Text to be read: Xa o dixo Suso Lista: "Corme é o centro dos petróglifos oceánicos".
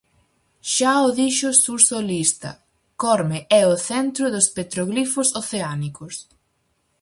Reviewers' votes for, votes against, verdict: 0, 4, rejected